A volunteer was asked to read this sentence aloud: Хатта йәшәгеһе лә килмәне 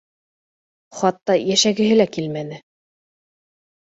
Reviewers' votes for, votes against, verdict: 2, 0, accepted